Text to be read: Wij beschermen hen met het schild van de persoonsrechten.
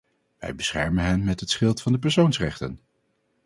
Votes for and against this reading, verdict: 4, 0, accepted